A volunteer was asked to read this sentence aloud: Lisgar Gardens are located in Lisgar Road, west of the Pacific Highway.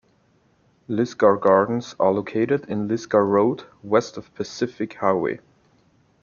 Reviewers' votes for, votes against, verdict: 2, 1, accepted